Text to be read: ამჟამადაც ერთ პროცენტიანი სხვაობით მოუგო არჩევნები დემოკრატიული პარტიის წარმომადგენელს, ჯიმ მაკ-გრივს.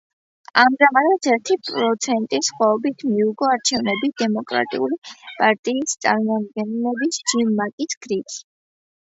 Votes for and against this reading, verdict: 0, 2, rejected